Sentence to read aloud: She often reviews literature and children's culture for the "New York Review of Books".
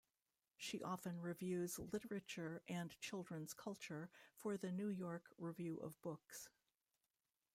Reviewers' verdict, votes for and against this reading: rejected, 1, 2